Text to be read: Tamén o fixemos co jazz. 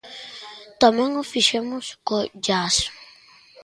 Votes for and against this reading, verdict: 2, 0, accepted